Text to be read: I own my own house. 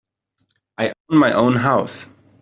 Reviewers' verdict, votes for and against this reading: rejected, 1, 2